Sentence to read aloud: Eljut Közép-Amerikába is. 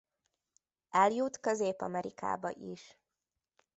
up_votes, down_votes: 2, 0